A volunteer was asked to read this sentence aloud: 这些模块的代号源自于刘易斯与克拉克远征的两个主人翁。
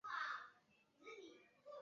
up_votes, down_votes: 1, 6